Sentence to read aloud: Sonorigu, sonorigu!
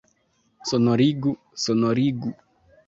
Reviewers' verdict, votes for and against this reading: accepted, 2, 0